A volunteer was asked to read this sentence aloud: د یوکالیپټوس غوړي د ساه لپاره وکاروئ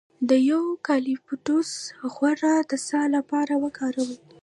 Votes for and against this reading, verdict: 2, 1, accepted